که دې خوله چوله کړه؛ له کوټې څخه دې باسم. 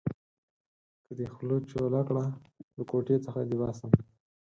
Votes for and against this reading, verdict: 4, 0, accepted